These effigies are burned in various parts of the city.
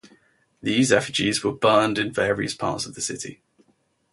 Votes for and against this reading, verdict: 0, 4, rejected